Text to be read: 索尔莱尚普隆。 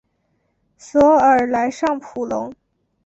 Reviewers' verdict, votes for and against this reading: accepted, 4, 0